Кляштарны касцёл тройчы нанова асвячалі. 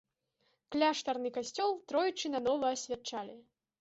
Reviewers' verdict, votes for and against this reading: accepted, 2, 0